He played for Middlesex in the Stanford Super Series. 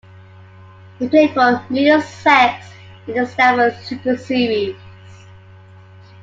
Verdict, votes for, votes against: accepted, 2, 1